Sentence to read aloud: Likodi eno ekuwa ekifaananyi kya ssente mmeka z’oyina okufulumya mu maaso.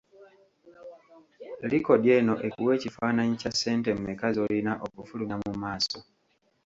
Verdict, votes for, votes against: accepted, 2, 1